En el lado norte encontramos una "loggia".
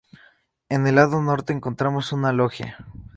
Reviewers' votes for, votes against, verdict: 2, 0, accepted